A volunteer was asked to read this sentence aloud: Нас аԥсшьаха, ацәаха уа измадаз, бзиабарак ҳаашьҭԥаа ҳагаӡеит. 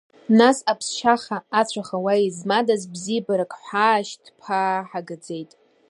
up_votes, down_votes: 1, 2